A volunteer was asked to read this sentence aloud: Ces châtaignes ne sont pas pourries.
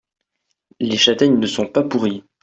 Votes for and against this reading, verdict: 0, 2, rejected